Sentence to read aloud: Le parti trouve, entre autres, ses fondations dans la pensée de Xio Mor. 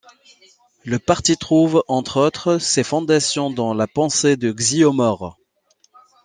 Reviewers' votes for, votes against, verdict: 2, 0, accepted